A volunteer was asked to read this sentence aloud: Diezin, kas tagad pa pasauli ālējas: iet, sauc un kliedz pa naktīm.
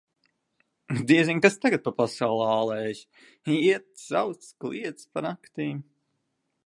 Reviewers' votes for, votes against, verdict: 0, 2, rejected